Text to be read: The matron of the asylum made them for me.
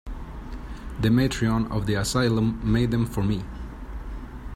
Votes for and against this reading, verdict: 1, 2, rejected